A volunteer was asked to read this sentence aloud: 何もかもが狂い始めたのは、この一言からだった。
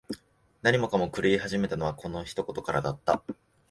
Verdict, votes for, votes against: accepted, 2, 1